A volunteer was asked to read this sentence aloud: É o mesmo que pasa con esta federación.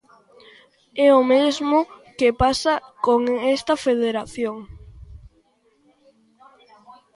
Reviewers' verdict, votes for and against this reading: rejected, 1, 2